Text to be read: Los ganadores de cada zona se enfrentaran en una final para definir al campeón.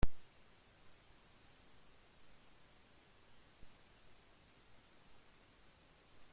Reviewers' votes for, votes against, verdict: 1, 2, rejected